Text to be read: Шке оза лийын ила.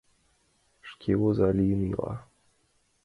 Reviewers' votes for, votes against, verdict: 2, 0, accepted